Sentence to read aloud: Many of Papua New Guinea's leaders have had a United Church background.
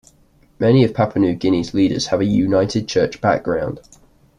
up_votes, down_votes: 1, 2